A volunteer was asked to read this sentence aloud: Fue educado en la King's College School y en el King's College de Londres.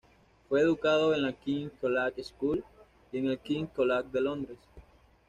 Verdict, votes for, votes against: accepted, 2, 0